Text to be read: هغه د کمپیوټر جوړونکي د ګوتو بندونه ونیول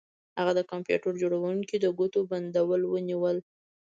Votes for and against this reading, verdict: 2, 0, accepted